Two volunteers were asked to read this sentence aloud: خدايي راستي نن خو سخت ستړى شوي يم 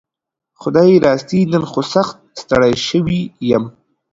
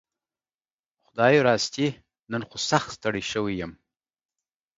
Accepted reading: second